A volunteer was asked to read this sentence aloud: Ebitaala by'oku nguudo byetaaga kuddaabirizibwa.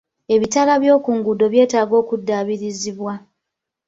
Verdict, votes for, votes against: rejected, 1, 2